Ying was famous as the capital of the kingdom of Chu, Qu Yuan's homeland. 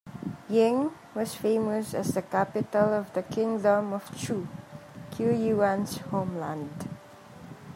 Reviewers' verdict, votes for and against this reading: rejected, 1, 2